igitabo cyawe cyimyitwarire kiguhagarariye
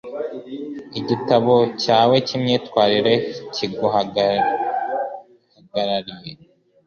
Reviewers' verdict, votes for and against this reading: rejected, 1, 2